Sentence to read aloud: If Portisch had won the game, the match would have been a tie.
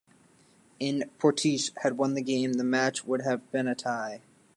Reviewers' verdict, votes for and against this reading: rejected, 0, 2